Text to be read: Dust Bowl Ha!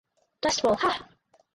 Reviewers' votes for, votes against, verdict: 4, 0, accepted